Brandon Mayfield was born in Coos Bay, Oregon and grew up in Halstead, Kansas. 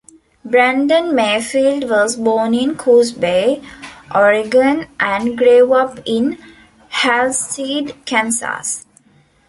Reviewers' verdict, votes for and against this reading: rejected, 0, 2